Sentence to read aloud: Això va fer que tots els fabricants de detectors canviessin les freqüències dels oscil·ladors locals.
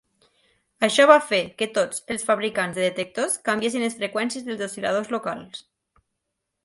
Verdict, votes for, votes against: accepted, 2, 0